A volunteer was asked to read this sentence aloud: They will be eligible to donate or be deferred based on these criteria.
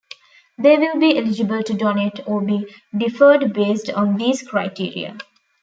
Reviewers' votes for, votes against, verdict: 2, 0, accepted